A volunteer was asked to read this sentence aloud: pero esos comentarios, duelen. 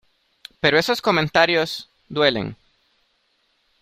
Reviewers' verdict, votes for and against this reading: accepted, 2, 0